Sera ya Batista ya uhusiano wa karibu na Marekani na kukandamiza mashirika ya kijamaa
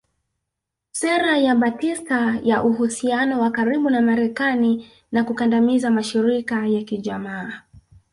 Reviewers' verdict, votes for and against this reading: rejected, 1, 2